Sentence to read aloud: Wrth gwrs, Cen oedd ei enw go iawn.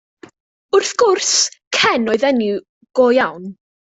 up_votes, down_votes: 1, 2